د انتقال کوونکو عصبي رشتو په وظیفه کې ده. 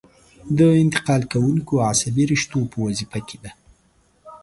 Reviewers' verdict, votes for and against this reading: accepted, 3, 0